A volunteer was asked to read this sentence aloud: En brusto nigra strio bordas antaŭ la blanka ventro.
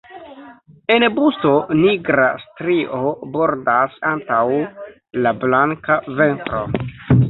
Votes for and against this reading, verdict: 1, 2, rejected